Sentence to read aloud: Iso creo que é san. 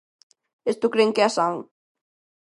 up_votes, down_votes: 0, 2